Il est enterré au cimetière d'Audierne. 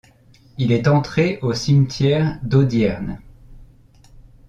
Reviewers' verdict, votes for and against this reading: rejected, 1, 2